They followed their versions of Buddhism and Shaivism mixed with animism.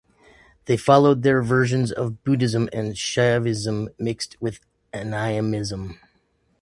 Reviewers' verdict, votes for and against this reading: rejected, 0, 2